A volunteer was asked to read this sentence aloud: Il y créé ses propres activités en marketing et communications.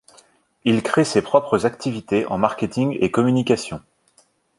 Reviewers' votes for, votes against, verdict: 1, 2, rejected